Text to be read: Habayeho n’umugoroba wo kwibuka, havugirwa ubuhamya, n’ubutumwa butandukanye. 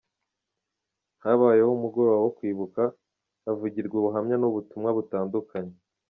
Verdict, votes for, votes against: accepted, 2, 0